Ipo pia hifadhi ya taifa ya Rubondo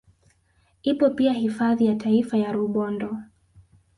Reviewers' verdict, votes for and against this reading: accepted, 3, 1